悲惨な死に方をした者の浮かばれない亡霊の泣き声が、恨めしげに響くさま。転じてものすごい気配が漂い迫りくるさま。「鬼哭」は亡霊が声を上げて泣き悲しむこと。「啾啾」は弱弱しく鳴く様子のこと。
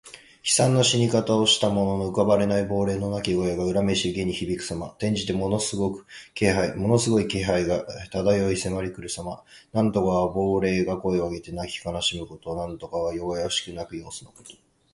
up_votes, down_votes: 0, 2